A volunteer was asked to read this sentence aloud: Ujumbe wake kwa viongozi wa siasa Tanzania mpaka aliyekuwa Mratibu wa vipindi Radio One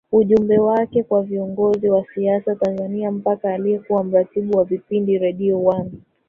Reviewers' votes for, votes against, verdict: 1, 2, rejected